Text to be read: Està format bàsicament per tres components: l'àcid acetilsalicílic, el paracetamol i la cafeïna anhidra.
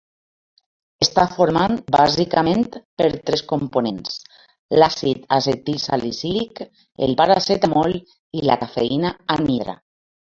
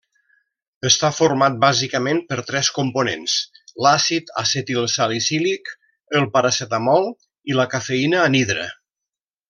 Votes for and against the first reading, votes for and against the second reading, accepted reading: 1, 2, 2, 0, second